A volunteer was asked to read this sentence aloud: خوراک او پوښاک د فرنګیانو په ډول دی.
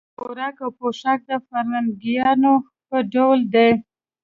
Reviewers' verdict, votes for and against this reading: accepted, 2, 0